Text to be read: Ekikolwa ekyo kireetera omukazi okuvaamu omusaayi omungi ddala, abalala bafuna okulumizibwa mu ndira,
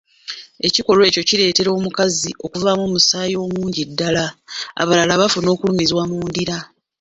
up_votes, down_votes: 2, 0